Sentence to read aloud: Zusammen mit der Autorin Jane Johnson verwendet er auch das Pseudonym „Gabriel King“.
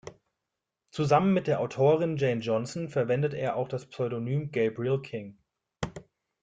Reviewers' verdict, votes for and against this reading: accepted, 2, 0